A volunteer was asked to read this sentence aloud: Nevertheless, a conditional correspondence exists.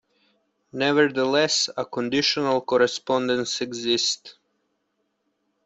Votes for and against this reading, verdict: 2, 1, accepted